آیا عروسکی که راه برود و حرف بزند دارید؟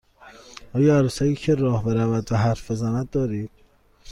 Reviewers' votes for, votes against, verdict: 2, 0, accepted